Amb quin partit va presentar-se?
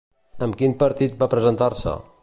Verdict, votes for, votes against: accepted, 2, 0